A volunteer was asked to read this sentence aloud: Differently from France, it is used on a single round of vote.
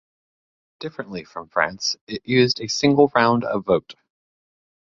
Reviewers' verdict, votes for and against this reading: rejected, 0, 2